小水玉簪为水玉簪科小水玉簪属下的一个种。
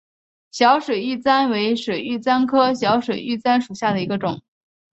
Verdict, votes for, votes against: accepted, 2, 0